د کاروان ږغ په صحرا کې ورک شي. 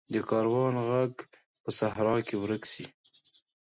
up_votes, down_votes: 2, 1